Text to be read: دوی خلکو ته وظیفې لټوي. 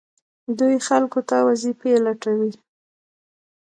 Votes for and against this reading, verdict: 1, 2, rejected